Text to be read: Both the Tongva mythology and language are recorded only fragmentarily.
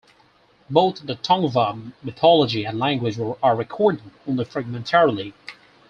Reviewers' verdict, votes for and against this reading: accepted, 6, 2